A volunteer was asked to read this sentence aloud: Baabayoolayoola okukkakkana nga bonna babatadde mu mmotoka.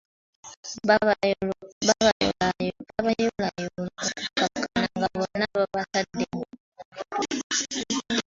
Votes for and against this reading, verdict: 1, 2, rejected